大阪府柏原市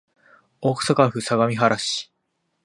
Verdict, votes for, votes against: rejected, 7, 8